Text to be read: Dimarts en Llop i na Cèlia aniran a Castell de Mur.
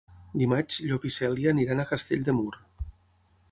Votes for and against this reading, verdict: 3, 6, rejected